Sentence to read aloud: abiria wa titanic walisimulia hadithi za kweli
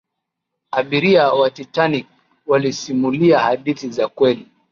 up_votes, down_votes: 3, 0